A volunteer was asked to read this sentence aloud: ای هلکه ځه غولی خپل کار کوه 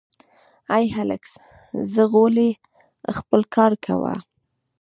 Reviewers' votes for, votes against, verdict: 1, 2, rejected